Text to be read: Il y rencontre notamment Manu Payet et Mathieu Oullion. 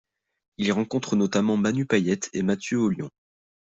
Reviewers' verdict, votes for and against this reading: accepted, 2, 0